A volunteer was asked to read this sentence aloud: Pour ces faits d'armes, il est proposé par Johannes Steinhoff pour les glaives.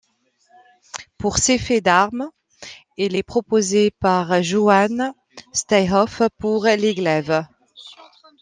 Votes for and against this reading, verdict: 0, 2, rejected